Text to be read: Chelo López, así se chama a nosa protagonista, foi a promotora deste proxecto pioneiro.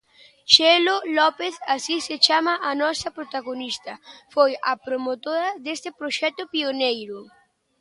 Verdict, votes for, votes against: accepted, 2, 1